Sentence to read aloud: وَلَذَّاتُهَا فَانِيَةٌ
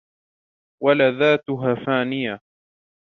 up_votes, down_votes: 2, 0